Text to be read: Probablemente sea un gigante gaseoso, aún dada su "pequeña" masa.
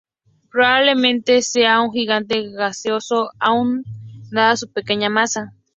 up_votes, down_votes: 2, 2